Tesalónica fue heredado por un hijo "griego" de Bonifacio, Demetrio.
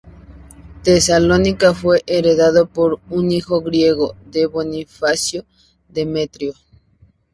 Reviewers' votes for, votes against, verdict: 2, 2, rejected